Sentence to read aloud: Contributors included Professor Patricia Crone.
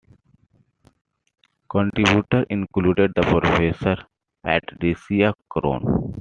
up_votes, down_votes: 2, 1